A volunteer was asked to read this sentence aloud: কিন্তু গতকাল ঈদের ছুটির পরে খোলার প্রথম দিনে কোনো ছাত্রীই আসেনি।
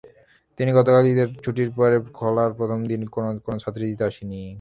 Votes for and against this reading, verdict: 0, 3, rejected